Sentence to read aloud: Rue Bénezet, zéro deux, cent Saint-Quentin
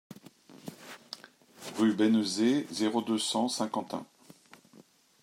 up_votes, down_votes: 2, 0